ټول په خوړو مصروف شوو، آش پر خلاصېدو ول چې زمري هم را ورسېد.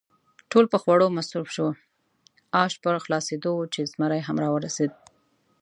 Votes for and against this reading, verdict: 2, 0, accepted